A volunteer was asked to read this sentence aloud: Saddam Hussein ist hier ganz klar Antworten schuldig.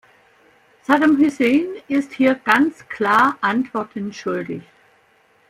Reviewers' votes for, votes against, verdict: 2, 0, accepted